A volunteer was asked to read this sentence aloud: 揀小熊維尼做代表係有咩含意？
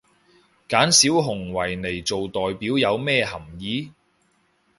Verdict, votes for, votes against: rejected, 0, 2